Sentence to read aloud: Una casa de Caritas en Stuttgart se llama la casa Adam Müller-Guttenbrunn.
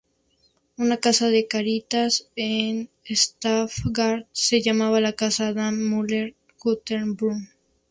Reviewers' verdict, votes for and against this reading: rejected, 0, 2